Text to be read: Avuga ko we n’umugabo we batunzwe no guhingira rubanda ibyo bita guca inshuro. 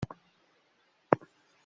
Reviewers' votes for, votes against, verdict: 0, 3, rejected